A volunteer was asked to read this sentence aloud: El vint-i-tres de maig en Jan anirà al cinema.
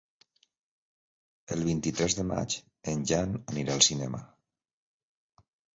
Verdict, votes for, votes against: accepted, 2, 0